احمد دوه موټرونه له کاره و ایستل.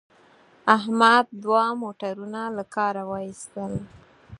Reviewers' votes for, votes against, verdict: 4, 0, accepted